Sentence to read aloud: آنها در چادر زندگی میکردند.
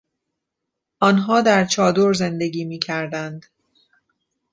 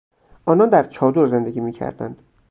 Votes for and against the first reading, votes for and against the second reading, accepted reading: 2, 0, 0, 2, first